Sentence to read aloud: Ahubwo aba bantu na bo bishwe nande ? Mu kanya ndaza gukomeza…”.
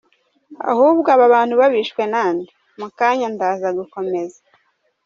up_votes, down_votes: 2, 0